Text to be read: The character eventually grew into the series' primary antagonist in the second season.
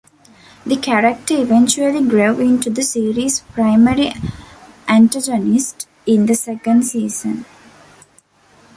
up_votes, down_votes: 1, 2